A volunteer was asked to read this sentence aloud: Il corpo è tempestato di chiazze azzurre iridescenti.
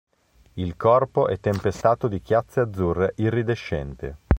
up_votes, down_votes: 1, 2